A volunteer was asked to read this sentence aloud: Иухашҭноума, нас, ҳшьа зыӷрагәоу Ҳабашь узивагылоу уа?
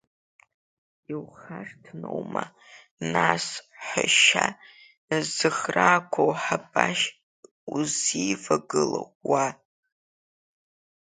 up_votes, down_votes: 0, 2